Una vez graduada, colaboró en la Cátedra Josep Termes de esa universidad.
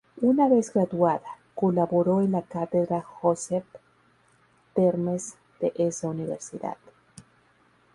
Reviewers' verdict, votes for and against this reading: accepted, 2, 0